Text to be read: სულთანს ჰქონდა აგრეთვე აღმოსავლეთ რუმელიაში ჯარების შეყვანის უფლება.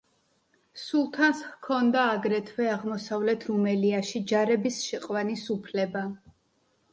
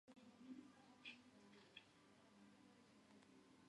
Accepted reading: first